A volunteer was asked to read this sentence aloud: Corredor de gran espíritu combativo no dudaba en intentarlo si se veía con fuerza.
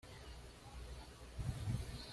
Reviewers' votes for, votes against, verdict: 1, 2, rejected